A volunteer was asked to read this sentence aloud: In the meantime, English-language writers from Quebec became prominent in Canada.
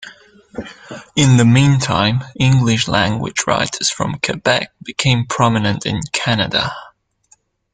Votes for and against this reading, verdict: 2, 0, accepted